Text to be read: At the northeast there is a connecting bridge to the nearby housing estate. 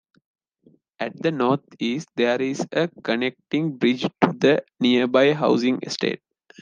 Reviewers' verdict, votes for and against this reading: accepted, 2, 0